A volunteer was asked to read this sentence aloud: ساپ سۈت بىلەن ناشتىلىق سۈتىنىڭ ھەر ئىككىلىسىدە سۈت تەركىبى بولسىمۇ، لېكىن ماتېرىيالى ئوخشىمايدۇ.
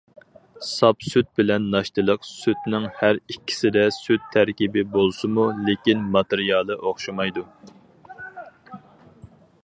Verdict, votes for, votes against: rejected, 2, 2